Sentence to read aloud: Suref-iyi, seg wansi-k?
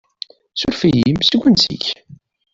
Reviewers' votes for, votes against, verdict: 0, 2, rejected